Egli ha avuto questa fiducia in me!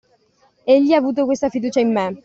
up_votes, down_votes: 2, 0